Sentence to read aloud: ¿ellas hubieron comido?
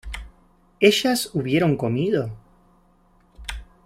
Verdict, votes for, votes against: accepted, 2, 0